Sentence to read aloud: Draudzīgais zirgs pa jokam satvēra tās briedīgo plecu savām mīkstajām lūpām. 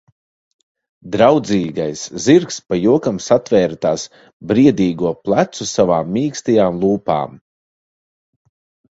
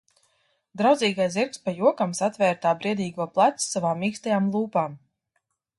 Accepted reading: first